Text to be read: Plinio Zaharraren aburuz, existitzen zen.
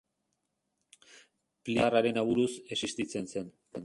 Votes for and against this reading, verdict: 0, 2, rejected